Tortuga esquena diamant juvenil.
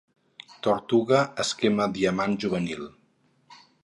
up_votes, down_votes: 0, 4